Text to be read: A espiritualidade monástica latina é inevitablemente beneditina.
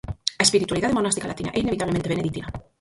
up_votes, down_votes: 0, 4